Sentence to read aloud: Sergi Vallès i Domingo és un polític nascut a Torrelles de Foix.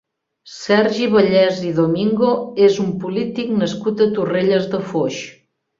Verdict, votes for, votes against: accepted, 4, 0